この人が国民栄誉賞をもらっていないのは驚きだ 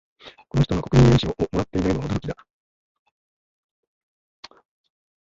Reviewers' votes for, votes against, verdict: 1, 2, rejected